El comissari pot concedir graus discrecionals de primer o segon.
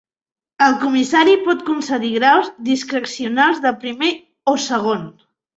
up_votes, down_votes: 3, 1